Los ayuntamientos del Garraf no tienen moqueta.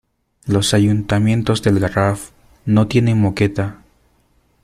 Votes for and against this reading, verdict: 2, 0, accepted